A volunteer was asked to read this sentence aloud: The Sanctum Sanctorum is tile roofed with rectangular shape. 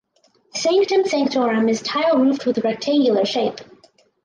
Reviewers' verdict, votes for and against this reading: accepted, 4, 0